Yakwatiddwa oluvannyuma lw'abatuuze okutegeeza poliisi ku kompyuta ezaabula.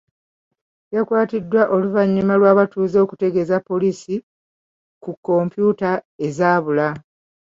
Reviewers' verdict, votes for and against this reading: accepted, 2, 1